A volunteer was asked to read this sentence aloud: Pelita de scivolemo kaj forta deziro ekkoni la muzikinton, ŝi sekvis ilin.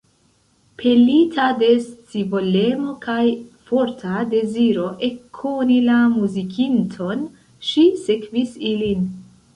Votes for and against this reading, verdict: 2, 0, accepted